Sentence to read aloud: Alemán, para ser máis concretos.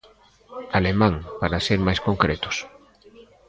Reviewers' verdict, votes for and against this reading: rejected, 1, 2